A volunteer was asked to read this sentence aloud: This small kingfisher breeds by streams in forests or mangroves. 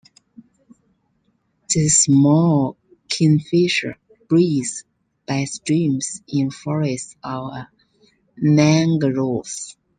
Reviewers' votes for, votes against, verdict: 1, 2, rejected